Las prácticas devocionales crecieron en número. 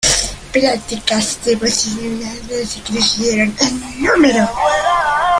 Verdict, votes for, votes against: rejected, 0, 2